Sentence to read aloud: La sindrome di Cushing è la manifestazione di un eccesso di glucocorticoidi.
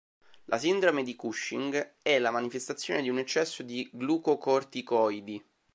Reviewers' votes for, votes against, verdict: 2, 0, accepted